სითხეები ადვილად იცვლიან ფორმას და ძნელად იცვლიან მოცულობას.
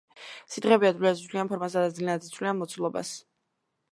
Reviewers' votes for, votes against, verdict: 1, 2, rejected